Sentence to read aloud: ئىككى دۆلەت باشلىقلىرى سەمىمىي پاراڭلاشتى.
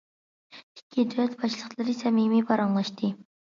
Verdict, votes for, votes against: accepted, 2, 0